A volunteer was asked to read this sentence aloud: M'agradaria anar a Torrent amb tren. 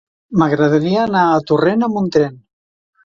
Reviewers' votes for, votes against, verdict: 1, 2, rejected